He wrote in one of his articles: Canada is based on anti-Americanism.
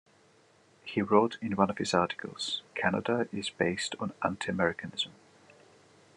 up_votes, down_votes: 2, 0